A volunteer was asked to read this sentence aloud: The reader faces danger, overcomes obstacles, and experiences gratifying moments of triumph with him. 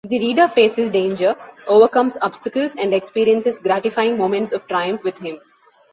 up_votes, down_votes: 3, 0